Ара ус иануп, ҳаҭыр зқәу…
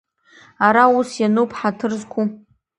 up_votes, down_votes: 2, 0